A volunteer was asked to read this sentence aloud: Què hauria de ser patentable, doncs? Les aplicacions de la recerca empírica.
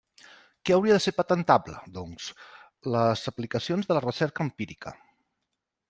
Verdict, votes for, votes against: accepted, 3, 0